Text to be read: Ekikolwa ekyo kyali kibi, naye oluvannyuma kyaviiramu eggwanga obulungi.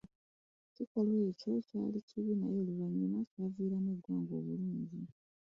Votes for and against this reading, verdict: 1, 2, rejected